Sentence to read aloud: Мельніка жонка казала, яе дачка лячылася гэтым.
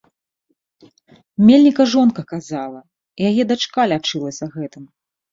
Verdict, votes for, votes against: accepted, 2, 0